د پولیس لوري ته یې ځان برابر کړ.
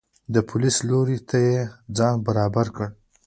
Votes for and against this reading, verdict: 2, 1, accepted